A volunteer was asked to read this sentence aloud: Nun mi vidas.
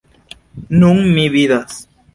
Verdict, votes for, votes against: accepted, 2, 0